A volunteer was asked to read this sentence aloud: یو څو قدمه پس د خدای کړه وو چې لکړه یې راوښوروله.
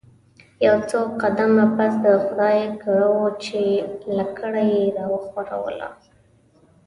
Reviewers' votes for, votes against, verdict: 1, 2, rejected